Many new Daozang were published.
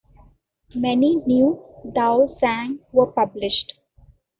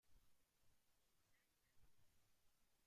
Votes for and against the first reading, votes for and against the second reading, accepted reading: 2, 0, 0, 2, first